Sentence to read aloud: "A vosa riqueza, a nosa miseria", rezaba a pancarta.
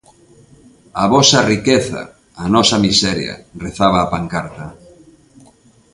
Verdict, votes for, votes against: accepted, 2, 0